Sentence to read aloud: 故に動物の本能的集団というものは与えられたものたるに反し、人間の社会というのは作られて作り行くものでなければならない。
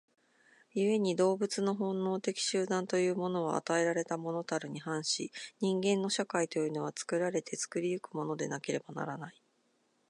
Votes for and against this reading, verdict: 2, 0, accepted